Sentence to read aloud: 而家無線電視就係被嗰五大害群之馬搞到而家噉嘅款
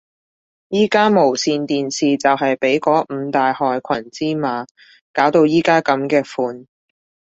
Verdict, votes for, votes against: accepted, 2, 1